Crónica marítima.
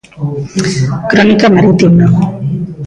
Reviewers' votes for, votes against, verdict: 0, 2, rejected